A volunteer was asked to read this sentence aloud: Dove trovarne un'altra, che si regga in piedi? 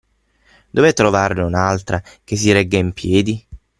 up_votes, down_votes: 6, 0